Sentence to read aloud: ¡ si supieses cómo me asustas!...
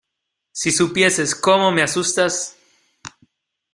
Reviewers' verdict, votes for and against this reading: accepted, 2, 0